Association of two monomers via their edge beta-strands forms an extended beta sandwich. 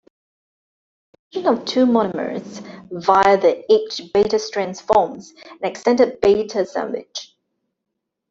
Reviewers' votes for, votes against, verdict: 1, 2, rejected